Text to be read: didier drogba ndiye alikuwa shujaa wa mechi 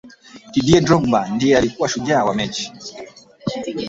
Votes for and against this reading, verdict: 1, 2, rejected